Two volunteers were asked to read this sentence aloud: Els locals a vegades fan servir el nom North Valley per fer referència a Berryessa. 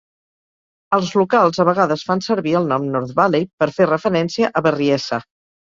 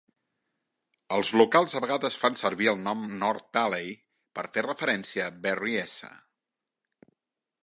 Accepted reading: first